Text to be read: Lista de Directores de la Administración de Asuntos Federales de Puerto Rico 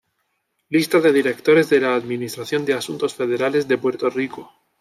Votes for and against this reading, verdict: 2, 0, accepted